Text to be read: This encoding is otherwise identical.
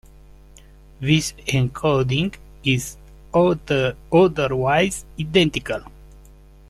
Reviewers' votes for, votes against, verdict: 0, 2, rejected